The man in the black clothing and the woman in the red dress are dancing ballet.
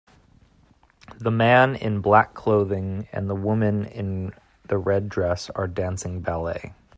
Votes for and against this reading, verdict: 1, 2, rejected